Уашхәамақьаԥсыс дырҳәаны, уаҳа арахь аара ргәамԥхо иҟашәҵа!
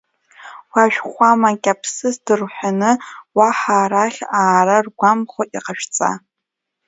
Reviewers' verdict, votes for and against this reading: accepted, 2, 0